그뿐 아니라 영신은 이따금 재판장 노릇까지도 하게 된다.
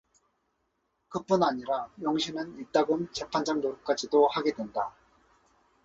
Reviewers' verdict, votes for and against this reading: accepted, 4, 0